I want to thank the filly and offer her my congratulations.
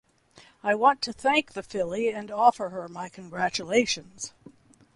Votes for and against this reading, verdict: 2, 0, accepted